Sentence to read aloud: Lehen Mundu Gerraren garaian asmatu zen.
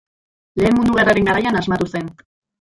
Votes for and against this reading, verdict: 0, 2, rejected